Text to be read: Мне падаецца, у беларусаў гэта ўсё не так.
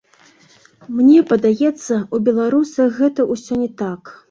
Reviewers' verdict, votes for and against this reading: rejected, 1, 2